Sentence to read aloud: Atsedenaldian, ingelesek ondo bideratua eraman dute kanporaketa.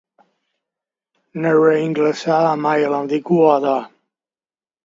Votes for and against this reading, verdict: 0, 2, rejected